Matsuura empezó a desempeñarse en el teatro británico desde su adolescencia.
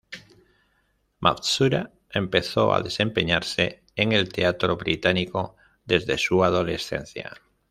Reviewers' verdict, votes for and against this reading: accepted, 2, 0